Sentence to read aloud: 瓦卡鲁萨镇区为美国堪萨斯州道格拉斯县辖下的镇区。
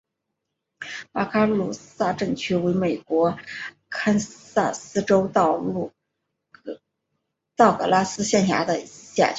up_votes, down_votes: 5, 1